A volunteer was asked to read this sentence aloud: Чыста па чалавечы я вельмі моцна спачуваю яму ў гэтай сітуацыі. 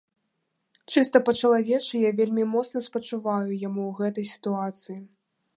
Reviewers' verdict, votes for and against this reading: accepted, 2, 0